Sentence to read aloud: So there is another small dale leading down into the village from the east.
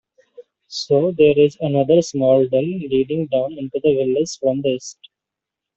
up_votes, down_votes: 1, 2